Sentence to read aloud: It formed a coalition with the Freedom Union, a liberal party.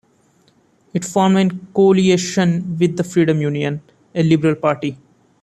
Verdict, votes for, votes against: accepted, 3, 2